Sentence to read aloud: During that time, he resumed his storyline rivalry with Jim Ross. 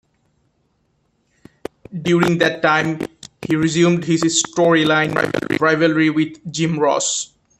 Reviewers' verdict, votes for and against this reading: rejected, 0, 2